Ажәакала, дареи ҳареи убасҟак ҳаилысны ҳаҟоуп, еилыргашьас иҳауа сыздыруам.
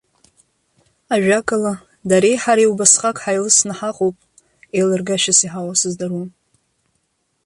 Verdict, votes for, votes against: accepted, 2, 0